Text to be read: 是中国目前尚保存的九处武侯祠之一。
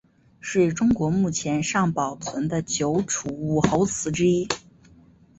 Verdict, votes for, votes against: accepted, 5, 2